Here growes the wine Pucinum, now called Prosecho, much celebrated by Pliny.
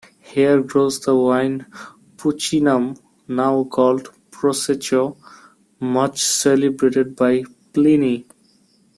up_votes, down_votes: 0, 2